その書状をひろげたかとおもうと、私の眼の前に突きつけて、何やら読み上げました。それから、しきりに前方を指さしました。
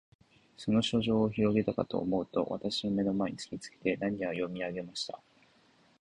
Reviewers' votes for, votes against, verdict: 0, 2, rejected